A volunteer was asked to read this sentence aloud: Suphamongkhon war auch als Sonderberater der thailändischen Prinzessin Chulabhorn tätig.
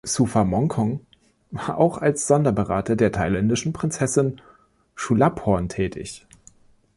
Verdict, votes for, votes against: rejected, 1, 2